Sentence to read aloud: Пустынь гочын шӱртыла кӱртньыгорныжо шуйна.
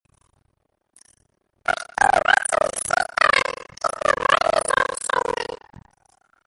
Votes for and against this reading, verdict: 1, 2, rejected